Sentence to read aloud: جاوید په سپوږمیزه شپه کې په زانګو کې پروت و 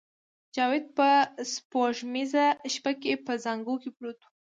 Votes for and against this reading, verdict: 2, 0, accepted